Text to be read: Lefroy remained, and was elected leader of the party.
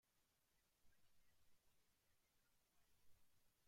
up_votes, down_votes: 0, 2